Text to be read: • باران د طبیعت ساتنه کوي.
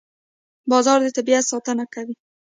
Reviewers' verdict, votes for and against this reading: rejected, 1, 2